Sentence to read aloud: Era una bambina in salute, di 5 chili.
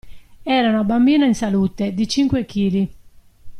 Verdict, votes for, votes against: rejected, 0, 2